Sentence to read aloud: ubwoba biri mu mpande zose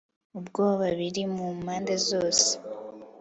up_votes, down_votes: 3, 0